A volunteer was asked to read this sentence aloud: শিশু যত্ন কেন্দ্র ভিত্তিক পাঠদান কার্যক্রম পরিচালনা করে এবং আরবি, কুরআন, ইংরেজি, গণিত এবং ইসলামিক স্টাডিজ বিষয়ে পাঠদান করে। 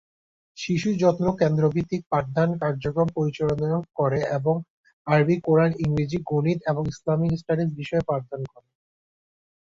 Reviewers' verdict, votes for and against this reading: accepted, 2, 1